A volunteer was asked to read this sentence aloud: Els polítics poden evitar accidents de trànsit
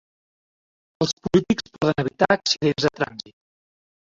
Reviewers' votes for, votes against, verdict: 2, 1, accepted